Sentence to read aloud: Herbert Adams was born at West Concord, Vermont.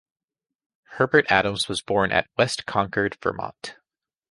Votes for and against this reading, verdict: 3, 0, accepted